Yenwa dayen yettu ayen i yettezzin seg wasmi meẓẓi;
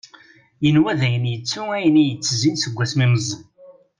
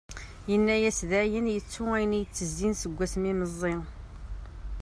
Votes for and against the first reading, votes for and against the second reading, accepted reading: 2, 0, 1, 2, first